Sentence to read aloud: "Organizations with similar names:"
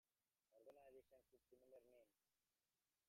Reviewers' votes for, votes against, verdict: 0, 2, rejected